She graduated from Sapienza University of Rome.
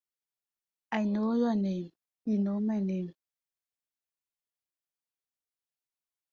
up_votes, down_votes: 0, 4